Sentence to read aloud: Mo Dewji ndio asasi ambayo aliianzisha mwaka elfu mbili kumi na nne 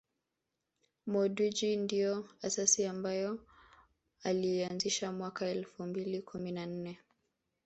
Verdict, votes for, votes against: rejected, 1, 2